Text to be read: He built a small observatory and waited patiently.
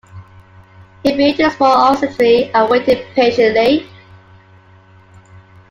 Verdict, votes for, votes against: rejected, 0, 2